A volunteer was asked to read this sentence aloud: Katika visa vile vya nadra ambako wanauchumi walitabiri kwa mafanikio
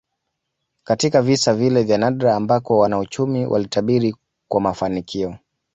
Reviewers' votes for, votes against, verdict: 2, 0, accepted